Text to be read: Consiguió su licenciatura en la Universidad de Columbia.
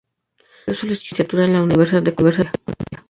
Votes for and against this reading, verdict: 0, 2, rejected